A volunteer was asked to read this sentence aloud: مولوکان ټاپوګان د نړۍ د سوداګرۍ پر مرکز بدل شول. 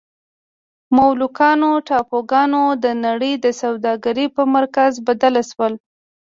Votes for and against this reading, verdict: 1, 2, rejected